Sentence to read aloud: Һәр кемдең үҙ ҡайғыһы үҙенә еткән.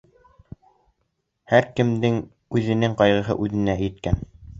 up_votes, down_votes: 0, 2